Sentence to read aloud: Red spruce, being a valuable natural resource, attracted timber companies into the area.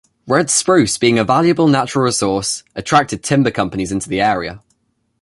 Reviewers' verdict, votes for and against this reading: accepted, 2, 0